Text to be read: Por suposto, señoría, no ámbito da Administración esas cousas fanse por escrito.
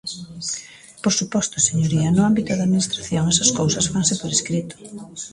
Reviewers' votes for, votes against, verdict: 0, 2, rejected